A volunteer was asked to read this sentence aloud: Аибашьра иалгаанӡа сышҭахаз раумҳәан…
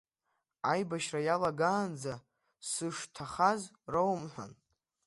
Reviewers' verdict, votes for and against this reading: rejected, 0, 2